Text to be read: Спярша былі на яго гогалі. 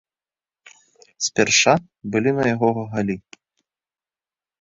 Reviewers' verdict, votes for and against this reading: rejected, 0, 2